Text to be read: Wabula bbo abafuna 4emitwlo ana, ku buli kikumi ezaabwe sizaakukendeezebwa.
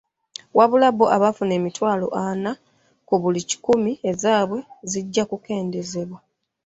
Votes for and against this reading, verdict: 0, 2, rejected